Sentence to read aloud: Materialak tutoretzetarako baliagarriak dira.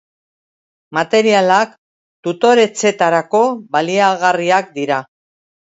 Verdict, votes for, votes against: rejected, 0, 2